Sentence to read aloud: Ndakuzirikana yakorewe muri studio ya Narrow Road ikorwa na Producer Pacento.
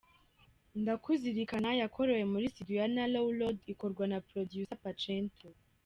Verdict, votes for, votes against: rejected, 0, 2